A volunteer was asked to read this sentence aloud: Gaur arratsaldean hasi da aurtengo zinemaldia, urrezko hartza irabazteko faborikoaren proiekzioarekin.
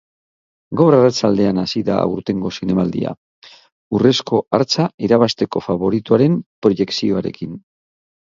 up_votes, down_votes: 6, 0